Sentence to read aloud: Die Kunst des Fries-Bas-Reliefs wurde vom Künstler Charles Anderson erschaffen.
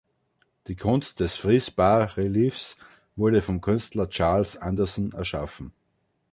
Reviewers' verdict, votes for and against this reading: rejected, 1, 2